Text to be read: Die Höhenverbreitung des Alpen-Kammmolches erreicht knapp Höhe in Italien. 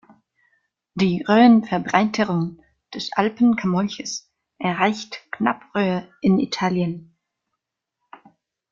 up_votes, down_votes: 0, 2